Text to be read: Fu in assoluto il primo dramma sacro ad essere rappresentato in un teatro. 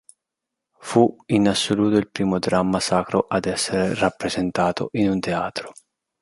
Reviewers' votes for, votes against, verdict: 2, 0, accepted